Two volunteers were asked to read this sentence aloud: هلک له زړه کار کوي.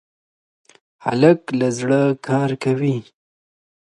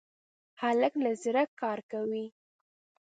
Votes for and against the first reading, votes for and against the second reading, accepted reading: 2, 0, 0, 2, first